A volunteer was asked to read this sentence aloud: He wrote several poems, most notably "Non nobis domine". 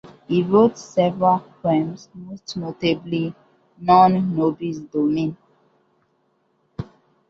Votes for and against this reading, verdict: 1, 2, rejected